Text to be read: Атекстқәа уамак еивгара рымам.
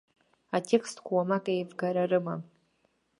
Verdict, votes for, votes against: accepted, 2, 0